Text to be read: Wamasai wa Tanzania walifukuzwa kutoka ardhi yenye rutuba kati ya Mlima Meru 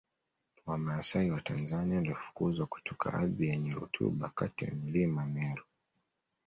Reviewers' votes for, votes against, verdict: 2, 0, accepted